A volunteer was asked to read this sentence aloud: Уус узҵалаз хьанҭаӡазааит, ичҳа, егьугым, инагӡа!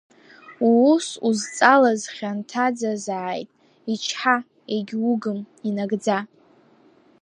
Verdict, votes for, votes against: rejected, 0, 2